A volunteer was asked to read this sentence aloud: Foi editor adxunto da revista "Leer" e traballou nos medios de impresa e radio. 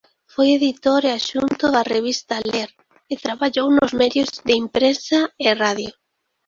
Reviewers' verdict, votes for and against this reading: rejected, 1, 2